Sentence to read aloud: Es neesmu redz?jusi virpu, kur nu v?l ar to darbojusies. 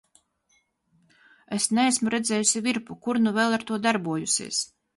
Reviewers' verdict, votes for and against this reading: rejected, 0, 2